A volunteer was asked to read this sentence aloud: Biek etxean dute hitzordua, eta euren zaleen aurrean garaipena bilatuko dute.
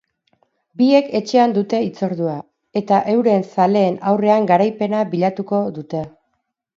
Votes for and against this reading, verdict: 2, 2, rejected